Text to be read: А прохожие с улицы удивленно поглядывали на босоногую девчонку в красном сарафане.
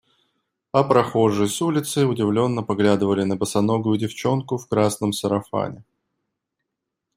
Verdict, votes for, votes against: accepted, 2, 0